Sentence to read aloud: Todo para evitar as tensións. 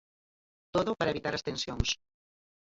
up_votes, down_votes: 2, 4